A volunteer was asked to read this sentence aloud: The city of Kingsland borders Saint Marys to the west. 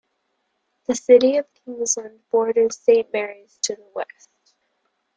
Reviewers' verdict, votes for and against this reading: accepted, 2, 0